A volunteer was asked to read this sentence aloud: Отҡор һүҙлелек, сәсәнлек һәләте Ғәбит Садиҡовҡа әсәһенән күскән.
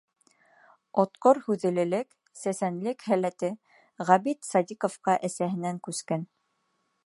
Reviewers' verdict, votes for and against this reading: accepted, 2, 0